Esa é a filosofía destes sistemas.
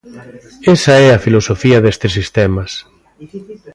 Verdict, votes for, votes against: accepted, 2, 0